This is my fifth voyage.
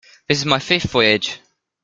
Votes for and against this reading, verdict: 2, 1, accepted